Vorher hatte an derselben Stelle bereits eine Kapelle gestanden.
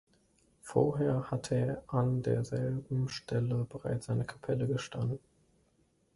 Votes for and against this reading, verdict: 2, 0, accepted